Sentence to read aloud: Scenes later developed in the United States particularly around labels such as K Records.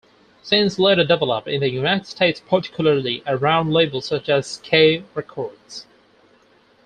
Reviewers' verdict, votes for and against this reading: rejected, 2, 4